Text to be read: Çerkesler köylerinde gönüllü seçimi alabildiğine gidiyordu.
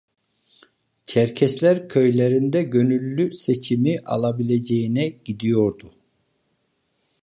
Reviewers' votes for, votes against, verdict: 1, 2, rejected